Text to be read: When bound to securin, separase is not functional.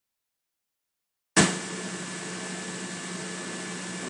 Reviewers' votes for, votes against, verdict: 0, 2, rejected